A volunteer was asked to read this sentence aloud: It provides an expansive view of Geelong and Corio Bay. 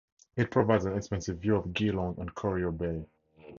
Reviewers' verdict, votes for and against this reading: accepted, 2, 0